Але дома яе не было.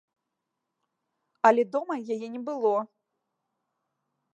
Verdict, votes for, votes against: accepted, 2, 0